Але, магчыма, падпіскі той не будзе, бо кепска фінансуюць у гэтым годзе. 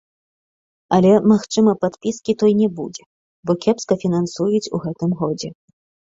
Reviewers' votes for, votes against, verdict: 0, 2, rejected